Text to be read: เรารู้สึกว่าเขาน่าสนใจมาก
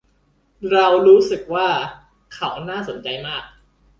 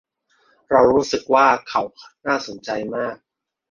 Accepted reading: first